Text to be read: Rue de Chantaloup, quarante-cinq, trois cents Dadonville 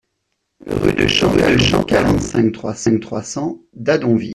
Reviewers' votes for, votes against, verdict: 0, 2, rejected